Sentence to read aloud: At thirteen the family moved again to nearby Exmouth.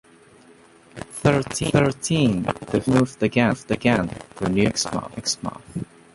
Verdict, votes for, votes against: rejected, 0, 2